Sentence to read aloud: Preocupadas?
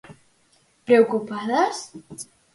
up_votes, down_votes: 4, 0